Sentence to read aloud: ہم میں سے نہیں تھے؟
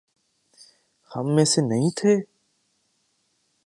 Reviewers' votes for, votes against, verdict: 3, 0, accepted